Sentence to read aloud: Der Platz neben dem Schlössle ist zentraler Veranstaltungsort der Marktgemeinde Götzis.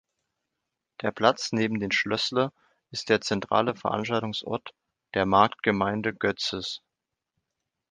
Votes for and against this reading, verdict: 1, 2, rejected